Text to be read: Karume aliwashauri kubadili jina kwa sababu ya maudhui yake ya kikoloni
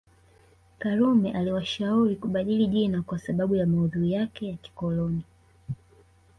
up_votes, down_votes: 0, 2